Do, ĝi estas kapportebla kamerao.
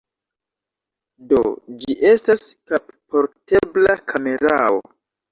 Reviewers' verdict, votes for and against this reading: rejected, 1, 2